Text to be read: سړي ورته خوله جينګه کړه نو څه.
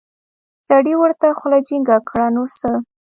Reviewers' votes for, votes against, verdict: 1, 2, rejected